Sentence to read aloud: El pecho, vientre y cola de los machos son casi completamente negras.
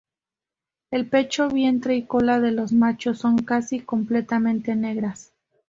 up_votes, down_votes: 2, 0